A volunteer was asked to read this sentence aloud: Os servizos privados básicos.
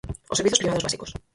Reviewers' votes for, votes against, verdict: 0, 4, rejected